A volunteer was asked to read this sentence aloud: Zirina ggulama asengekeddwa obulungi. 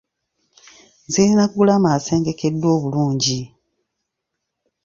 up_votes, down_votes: 2, 0